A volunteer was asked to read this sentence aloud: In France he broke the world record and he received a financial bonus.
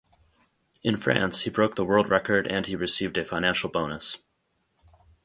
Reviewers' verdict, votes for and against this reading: accepted, 4, 0